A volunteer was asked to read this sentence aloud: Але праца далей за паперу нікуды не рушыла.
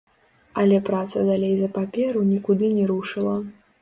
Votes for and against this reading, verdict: 1, 2, rejected